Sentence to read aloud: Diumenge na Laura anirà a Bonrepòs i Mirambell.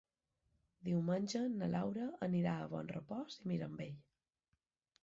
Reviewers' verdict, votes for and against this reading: rejected, 1, 2